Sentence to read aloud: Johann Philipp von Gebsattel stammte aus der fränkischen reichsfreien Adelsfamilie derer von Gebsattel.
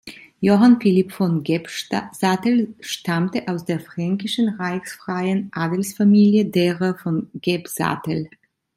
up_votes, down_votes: 1, 2